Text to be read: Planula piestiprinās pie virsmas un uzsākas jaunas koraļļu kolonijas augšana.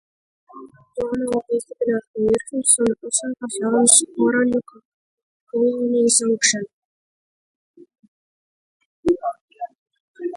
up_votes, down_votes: 0, 2